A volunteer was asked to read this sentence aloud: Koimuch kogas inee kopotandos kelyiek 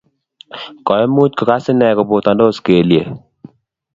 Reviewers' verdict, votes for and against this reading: accepted, 3, 0